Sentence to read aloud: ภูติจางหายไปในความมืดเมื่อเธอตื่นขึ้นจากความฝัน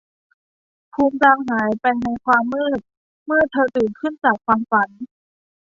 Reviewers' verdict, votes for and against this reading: rejected, 1, 2